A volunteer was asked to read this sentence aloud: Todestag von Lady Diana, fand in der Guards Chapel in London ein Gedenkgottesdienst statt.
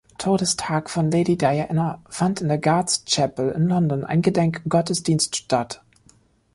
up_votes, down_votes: 2, 0